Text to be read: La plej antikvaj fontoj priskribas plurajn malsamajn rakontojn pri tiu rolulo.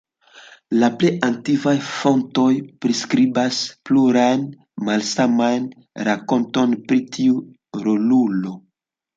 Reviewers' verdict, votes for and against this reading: rejected, 0, 2